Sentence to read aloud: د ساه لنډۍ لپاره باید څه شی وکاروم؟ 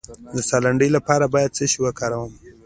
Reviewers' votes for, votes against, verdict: 2, 0, accepted